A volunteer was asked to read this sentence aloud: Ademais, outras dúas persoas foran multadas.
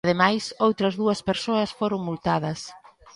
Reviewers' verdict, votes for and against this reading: rejected, 1, 2